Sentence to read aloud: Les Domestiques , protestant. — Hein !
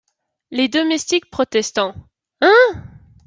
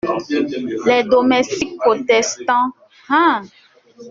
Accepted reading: first